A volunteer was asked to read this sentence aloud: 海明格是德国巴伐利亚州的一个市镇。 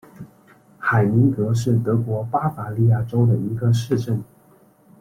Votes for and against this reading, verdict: 2, 0, accepted